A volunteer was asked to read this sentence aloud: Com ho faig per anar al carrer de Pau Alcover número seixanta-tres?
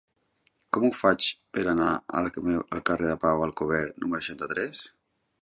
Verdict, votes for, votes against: rejected, 0, 2